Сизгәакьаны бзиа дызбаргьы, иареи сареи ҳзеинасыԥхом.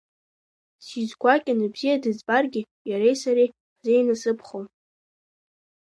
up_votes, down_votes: 2, 1